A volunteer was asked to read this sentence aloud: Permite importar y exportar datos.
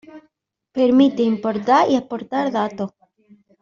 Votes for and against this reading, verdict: 1, 2, rejected